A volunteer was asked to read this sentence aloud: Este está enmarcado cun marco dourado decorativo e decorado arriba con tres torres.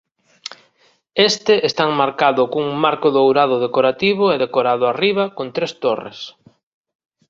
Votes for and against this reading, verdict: 2, 0, accepted